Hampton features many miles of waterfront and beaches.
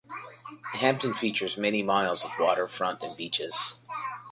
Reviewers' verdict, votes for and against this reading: accepted, 2, 0